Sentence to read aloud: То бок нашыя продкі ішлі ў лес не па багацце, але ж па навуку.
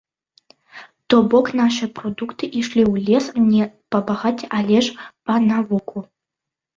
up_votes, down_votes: 0, 2